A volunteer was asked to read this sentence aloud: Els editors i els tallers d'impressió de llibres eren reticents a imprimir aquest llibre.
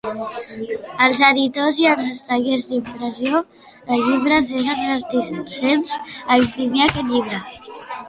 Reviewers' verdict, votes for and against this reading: accepted, 2, 1